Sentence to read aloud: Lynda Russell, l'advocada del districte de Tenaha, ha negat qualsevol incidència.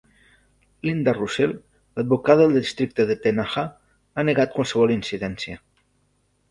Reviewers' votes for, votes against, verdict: 1, 2, rejected